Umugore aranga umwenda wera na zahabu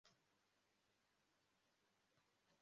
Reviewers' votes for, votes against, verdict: 0, 2, rejected